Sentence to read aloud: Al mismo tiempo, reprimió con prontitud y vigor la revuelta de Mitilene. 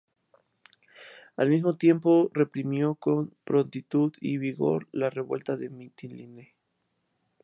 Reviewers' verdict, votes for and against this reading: accepted, 2, 0